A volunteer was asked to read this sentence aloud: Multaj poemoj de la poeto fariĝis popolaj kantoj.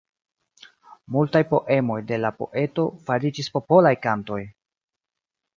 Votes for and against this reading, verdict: 2, 1, accepted